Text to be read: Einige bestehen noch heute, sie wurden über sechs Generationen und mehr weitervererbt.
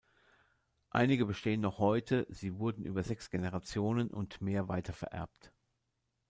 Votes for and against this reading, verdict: 2, 0, accepted